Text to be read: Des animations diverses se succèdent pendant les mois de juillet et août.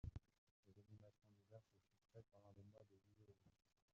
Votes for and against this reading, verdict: 0, 2, rejected